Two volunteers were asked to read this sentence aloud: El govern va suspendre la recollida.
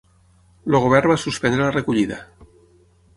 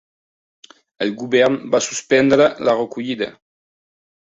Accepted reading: second